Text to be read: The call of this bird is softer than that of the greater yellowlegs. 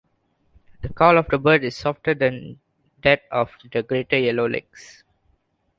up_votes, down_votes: 2, 1